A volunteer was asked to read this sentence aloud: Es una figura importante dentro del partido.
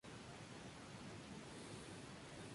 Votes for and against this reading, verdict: 0, 4, rejected